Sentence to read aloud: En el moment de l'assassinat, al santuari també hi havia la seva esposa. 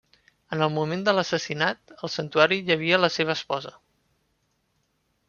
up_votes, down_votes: 0, 2